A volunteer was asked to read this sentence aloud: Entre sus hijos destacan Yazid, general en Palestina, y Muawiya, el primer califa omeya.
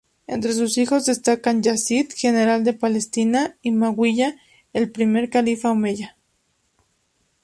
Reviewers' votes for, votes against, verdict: 2, 2, rejected